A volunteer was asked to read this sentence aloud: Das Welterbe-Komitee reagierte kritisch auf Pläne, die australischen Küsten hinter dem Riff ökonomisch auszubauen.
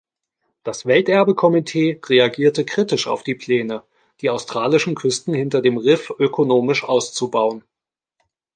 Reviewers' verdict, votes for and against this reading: rejected, 0, 2